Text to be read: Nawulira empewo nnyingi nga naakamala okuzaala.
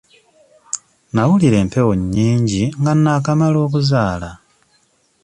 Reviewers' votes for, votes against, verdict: 2, 0, accepted